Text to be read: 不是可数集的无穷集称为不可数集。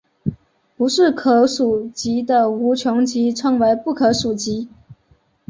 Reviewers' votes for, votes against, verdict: 3, 0, accepted